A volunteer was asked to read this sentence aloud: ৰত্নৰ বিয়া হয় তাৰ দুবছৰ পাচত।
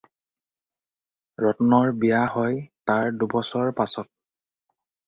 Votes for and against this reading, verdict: 2, 0, accepted